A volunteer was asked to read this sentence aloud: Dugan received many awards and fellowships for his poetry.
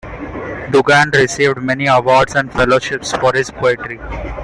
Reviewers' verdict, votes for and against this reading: accepted, 2, 0